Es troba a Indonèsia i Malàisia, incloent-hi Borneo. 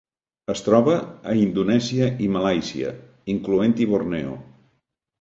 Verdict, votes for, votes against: accepted, 4, 0